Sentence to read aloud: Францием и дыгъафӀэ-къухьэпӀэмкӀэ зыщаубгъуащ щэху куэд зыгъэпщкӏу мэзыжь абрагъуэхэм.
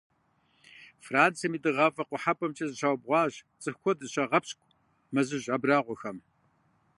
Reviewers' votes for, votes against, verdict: 0, 2, rejected